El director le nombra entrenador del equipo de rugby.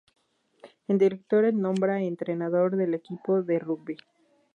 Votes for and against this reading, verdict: 2, 2, rejected